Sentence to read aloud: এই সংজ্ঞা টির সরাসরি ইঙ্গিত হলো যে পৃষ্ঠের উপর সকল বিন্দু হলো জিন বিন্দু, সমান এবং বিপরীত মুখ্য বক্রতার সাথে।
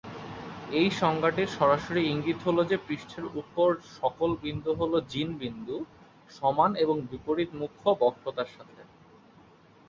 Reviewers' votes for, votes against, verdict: 4, 0, accepted